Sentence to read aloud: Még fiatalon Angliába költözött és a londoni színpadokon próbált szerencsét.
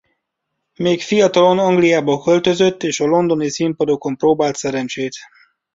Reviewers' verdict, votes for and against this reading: accepted, 2, 0